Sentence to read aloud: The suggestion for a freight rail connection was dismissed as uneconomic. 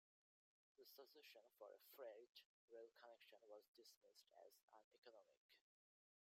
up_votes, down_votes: 1, 2